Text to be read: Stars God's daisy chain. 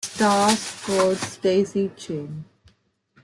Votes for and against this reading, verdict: 1, 2, rejected